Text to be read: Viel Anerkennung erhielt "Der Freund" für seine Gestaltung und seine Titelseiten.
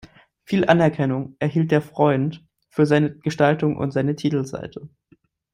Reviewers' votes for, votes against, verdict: 1, 2, rejected